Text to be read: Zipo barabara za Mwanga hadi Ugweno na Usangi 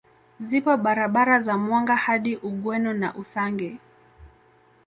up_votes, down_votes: 2, 0